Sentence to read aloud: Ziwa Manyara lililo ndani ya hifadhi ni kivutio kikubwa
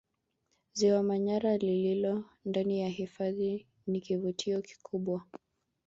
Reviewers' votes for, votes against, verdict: 3, 1, accepted